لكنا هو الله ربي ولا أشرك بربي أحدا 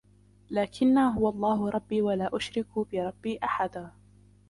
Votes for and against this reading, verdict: 2, 1, accepted